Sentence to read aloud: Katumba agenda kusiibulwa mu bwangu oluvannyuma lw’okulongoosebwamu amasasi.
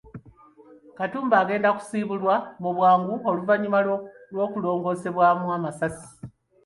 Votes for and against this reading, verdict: 2, 1, accepted